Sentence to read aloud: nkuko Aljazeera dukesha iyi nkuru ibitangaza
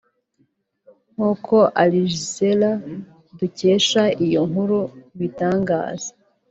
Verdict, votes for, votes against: rejected, 0, 2